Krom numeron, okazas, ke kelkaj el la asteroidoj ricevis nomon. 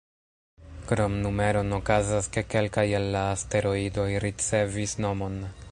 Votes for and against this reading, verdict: 1, 2, rejected